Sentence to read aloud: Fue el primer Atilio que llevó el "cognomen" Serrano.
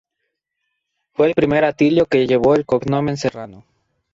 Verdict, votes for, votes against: rejected, 0, 2